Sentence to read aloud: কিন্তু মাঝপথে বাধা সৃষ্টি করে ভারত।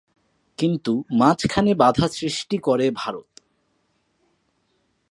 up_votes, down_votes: 1, 2